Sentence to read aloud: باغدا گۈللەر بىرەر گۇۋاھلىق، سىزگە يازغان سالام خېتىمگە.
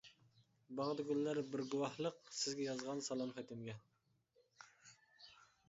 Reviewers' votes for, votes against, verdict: 0, 2, rejected